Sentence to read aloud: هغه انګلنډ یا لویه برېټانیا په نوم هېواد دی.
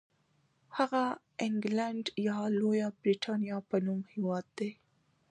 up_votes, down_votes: 1, 2